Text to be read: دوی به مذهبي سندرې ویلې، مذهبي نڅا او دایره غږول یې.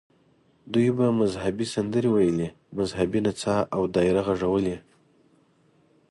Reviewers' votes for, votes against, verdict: 2, 0, accepted